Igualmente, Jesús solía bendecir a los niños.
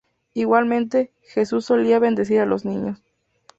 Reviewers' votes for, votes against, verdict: 4, 0, accepted